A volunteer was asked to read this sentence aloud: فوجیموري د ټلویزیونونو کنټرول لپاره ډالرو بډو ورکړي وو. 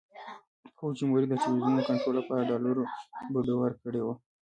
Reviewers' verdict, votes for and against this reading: accepted, 3, 0